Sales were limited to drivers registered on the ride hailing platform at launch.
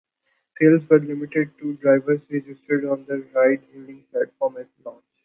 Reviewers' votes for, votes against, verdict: 1, 2, rejected